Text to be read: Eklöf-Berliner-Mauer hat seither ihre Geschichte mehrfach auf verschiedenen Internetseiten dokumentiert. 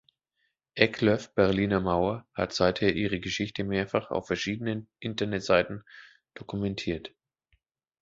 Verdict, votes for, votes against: accepted, 2, 0